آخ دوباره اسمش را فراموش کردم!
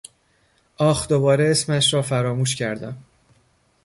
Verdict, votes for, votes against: accepted, 2, 0